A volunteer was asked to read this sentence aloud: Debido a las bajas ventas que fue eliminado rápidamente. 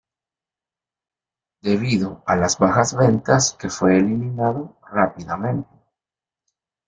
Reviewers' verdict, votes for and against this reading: accepted, 2, 0